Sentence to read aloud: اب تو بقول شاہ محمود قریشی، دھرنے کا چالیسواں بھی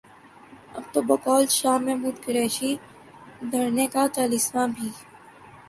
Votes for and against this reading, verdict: 4, 0, accepted